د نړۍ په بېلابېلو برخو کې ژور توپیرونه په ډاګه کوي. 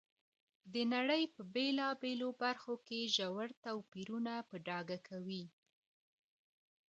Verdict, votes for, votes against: rejected, 0, 2